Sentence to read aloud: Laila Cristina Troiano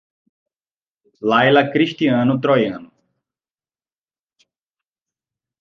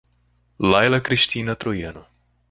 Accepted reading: second